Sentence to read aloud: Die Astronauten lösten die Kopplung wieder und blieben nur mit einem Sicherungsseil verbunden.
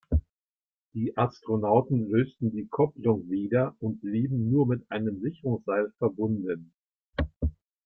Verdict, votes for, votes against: accepted, 2, 1